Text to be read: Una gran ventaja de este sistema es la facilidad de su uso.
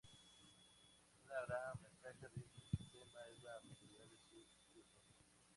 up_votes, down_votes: 0, 2